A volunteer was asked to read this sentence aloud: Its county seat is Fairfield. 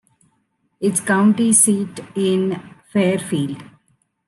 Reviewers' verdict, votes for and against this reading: rejected, 1, 2